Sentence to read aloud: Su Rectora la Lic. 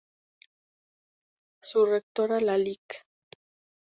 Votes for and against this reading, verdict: 6, 0, accepted